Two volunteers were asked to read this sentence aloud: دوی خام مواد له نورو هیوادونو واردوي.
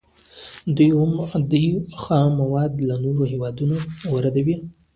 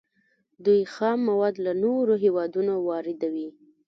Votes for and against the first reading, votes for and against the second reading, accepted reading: 2, 0, 1, 2, first